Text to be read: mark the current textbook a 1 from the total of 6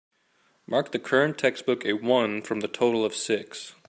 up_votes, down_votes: 0, 2